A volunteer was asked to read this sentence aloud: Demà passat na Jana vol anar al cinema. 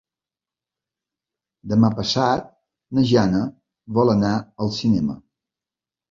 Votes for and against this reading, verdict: 4, 0, accepted